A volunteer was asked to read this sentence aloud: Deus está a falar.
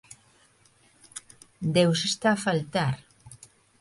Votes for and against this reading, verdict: 0, 2, rejected